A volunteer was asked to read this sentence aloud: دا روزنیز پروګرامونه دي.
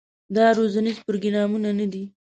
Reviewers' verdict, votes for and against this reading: rejected, 1, 2